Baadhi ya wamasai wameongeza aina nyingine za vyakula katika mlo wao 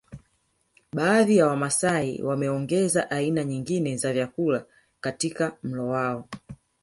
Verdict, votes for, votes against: accepted, 3, 0